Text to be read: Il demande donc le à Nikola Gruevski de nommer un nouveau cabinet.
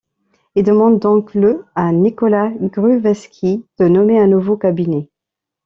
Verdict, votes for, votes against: rejected, 0, 2